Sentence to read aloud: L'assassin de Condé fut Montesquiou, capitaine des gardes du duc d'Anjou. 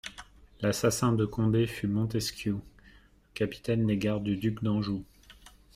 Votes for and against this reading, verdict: 2, 0, accepted